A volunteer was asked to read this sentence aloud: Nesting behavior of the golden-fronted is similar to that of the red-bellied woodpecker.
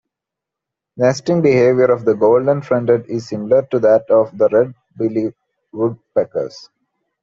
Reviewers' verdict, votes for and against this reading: accepted, 2, 1